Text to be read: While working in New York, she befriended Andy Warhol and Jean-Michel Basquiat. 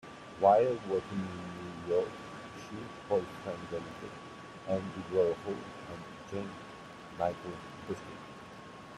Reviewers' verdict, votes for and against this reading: accepted, 2, 1